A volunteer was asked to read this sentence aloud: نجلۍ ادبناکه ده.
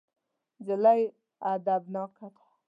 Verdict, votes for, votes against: accepted, 2, 0